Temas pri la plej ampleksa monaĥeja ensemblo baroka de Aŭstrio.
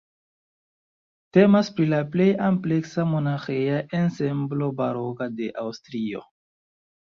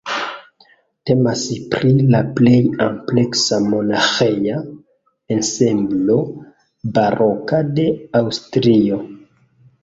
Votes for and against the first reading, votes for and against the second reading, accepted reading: 1, 2, 2, 0, second